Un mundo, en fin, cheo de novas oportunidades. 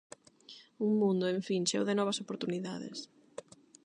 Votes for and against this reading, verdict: 8, 0, accepted